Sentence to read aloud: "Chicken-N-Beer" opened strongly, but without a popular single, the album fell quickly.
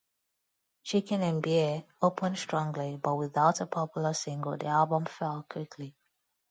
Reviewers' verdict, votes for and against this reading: rejected, 0, 2